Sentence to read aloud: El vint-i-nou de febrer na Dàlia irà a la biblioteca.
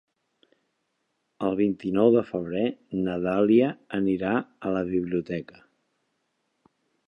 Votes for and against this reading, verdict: 0, 2, rejected